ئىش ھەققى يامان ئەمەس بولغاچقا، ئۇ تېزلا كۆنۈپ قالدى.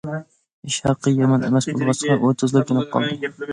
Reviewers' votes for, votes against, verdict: 1, 2, rejected